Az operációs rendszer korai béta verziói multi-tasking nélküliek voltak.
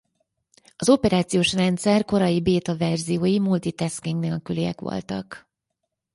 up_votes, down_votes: 4, 0